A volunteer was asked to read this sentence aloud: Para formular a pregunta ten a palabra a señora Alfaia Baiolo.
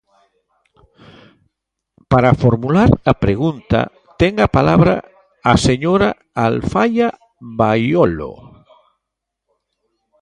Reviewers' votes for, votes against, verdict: 1, 2, rejected